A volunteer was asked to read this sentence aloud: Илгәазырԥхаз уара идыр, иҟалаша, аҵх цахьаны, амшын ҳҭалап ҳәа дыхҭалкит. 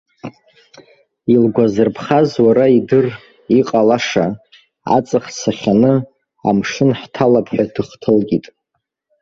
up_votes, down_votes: 0, 2